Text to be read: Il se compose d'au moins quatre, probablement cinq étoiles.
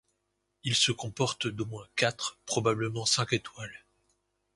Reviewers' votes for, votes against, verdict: 0, 2, rejected